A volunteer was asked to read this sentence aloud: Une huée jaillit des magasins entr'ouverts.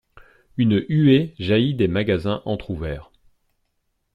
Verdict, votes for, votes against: accepted, 2, 0